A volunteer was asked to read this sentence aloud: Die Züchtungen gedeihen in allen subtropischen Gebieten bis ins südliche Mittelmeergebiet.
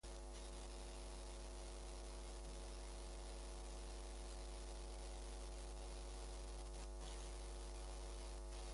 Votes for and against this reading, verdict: 0, 2, rejected